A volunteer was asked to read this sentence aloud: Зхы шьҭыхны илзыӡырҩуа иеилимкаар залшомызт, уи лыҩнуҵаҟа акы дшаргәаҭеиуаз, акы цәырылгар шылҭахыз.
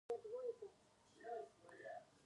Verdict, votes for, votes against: rejected, 0, 2